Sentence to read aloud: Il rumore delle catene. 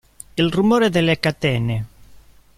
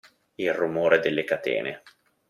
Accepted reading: second